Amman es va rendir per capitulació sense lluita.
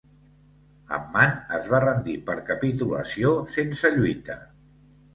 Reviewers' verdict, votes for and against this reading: accepted, 2, 0